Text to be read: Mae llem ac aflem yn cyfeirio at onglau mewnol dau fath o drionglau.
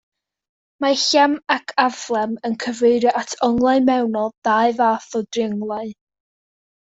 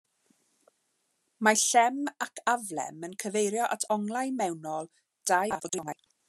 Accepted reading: first